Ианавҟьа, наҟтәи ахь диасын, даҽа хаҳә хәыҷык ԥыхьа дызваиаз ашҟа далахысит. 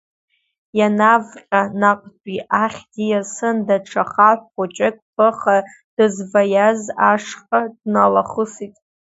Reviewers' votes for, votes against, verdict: 0, 2, rejected